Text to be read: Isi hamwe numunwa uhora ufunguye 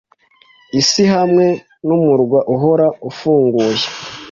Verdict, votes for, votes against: rejected, 0, 2